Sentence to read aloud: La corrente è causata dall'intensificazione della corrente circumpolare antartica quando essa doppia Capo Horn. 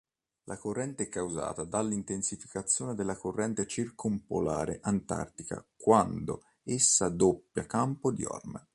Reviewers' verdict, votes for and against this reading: rejected, 1, 2